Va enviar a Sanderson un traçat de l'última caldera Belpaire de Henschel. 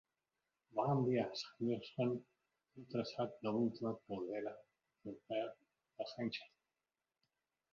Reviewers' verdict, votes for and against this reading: rejected, 0, 2